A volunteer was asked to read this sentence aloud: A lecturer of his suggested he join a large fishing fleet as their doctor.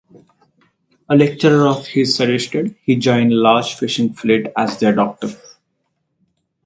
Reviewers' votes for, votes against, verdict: 2, 2, rejected